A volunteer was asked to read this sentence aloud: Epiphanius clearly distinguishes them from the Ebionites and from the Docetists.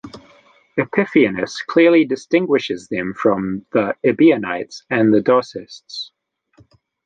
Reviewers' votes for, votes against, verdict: 0, 2, rejected